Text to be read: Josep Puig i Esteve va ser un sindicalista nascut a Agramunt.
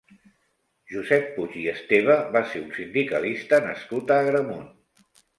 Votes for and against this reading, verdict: 3, 0, accepted